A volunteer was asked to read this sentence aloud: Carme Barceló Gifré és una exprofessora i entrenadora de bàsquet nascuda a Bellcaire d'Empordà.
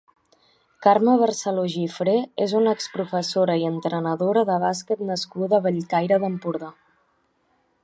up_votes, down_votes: 2, 0